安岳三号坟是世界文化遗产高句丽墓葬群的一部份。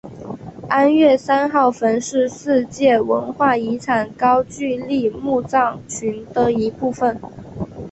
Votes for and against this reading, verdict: 2, 1, accepted